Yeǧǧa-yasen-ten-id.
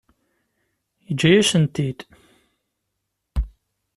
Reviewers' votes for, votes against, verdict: 2, 0, accepted